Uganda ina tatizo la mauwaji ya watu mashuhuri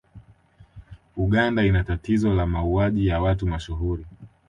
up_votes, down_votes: 2, 1